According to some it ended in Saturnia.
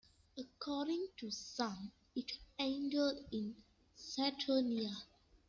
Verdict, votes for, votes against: rejected, 1, 2